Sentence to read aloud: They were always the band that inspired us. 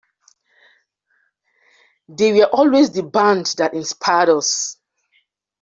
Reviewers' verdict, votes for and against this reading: rejected, 1, 2